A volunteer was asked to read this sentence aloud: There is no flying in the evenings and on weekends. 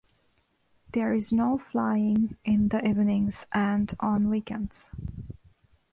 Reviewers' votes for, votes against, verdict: 2, 0, accepted